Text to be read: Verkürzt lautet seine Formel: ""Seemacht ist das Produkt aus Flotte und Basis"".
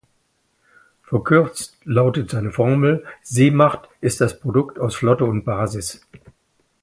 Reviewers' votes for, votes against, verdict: 2, 0, accepted